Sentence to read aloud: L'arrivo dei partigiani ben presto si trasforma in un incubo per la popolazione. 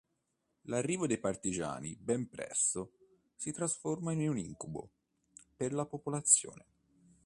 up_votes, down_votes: 2, 0